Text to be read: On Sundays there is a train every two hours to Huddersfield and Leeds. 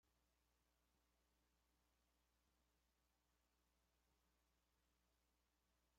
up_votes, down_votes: 0, 2